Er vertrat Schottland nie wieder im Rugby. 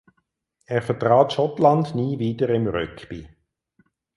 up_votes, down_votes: 2, 4